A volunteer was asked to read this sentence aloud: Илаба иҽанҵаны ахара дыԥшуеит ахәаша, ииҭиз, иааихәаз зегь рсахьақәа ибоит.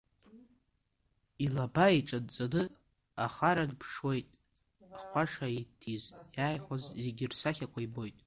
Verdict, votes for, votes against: rejected, 0, 2